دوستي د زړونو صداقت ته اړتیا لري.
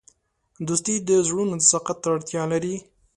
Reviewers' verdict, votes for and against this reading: accepted, 2, 0